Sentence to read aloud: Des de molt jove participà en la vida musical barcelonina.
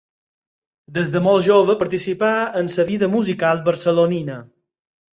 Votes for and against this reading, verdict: 2, 4, rejected